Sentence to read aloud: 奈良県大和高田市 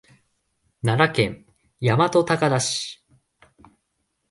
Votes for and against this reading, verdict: 2, 0, accepted